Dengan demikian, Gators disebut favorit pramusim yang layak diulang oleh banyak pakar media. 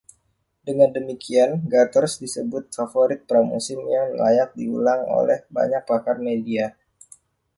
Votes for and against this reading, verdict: 2, 0, accepted